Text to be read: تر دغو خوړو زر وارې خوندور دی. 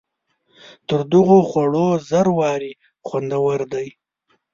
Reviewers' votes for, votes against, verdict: 2, 0, accepted